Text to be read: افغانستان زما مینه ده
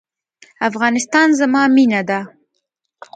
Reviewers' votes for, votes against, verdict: 2, 0, accepted